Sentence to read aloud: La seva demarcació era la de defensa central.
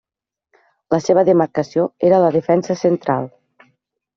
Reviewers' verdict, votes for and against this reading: rejected, 1, 2